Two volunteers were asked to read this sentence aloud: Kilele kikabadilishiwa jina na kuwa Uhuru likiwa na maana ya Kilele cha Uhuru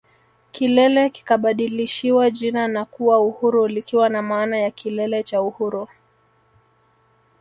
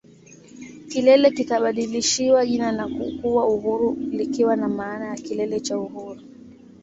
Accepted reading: second